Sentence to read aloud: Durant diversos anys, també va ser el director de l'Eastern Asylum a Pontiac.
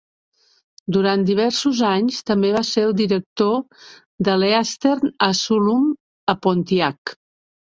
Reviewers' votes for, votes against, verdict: 0, 2, rejected